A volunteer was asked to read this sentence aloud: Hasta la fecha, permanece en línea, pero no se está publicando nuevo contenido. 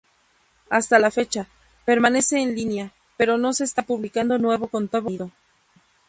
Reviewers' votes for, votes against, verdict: 0, 2, rejected